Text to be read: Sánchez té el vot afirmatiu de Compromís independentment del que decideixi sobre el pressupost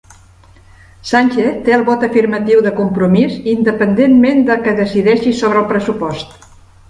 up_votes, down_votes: 1, 2